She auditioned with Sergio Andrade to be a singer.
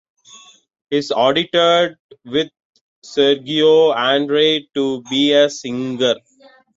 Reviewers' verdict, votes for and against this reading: accepted, 2, 1